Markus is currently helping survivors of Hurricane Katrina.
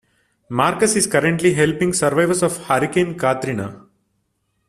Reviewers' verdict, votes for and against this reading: accepted, 2, 0